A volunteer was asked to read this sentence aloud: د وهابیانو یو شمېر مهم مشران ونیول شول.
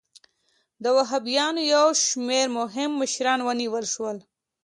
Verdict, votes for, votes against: accepted, 2, 0